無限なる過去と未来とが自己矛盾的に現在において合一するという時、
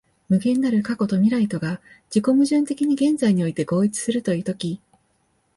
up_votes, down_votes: 2, 0